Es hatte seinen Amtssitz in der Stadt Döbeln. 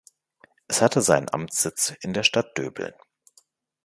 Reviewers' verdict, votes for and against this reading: accepted, 2, 0